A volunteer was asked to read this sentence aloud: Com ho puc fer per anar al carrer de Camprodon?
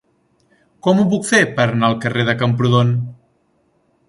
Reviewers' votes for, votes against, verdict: 3, 0, accepted